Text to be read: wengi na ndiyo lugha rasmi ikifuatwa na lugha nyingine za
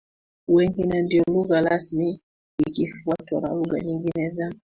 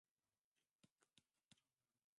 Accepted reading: first